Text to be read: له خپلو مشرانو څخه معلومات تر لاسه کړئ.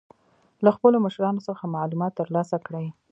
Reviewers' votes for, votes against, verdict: 2, 1, accepted